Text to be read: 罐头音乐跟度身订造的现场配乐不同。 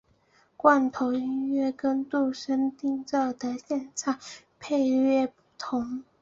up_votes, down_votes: 2, 0